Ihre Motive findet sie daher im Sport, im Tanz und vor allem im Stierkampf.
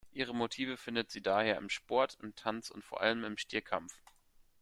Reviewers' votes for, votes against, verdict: 2, 0, accepted